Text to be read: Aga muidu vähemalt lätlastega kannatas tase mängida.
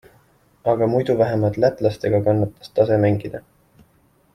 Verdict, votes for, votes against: accepted, 2, 0